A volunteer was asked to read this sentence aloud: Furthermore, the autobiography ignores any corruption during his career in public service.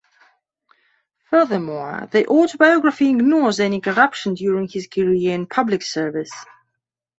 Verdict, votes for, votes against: accepted, 2, 0